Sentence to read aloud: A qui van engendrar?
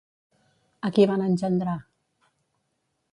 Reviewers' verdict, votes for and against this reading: rejected, 0, 2